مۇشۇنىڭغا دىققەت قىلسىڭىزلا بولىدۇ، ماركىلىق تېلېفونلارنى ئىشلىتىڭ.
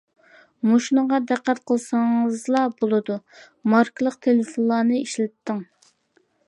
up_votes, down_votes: 2, 0